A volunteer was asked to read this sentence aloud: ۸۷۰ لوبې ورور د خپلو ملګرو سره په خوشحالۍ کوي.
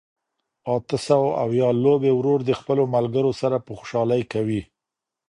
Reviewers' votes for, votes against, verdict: 0, 2, rejected